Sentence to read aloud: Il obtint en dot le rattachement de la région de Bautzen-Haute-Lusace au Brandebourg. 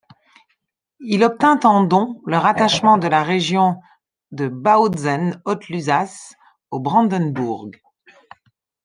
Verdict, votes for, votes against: rejected, 0, 2